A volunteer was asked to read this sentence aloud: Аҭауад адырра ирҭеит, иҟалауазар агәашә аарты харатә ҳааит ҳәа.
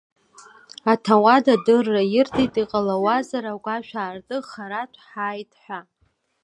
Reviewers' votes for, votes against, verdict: 2, 0, accepted